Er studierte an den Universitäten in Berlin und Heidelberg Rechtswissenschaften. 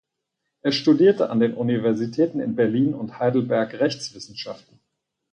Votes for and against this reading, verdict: 4, 0, accepted